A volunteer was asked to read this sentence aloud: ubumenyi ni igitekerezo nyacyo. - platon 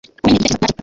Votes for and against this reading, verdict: 0, 2, rejected